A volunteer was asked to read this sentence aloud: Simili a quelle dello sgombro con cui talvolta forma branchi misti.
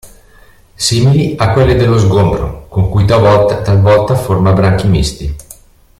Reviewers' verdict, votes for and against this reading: rejected, 0, 2